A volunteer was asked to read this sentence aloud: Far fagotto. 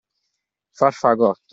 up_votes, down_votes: 2, 1